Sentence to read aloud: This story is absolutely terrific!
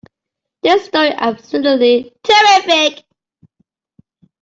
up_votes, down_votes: 0, 2